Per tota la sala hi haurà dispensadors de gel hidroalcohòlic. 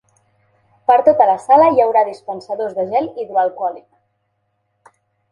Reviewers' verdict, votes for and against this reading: accepted, 3, 0